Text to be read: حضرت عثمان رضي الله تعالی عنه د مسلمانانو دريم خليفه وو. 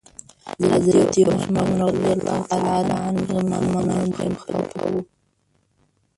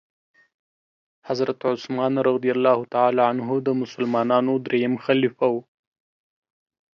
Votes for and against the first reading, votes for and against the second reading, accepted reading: 1, 2, 2, 0, second